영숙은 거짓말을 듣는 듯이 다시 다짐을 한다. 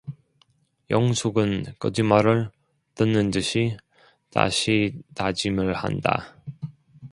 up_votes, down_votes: 2, 0